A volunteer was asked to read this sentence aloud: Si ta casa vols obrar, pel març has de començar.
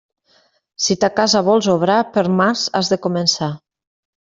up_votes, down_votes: 0, 2